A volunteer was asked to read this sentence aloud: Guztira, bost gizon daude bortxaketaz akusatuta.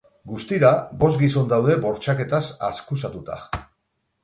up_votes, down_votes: 2, 6